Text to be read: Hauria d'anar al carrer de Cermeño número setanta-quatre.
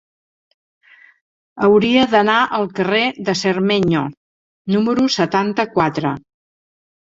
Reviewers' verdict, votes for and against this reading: accepted, 3, 0